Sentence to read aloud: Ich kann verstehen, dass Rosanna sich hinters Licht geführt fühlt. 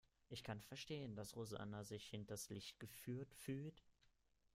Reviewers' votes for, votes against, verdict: 2, 1, accepted